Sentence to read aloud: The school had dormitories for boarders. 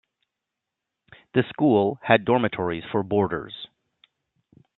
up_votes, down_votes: 2, 0